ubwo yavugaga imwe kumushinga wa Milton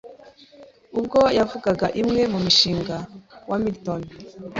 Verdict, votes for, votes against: rejected, 0, 2